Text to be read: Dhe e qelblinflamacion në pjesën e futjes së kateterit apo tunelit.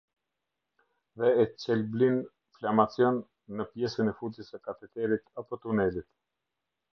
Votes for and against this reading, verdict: 1, 2, rejected